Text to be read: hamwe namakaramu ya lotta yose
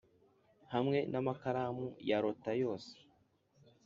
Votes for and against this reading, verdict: 5, 0, accepted